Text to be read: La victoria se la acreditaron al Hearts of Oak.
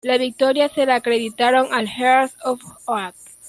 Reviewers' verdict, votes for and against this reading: rejected, 0, 2